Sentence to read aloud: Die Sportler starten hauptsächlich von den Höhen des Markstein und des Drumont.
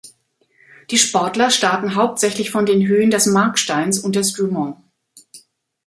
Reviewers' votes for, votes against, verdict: 2, 3, rejected